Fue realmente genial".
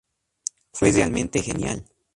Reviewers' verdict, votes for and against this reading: accepted, 2, 0